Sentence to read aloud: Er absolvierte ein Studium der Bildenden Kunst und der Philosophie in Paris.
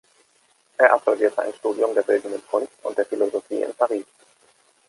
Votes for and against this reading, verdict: 2, 0, accepted